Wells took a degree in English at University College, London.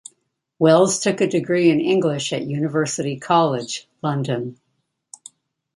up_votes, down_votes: 2, 0